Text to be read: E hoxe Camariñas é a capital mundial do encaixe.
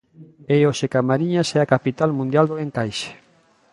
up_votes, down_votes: 2, 0